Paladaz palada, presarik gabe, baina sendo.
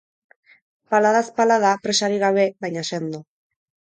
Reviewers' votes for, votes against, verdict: 4, 0, accepted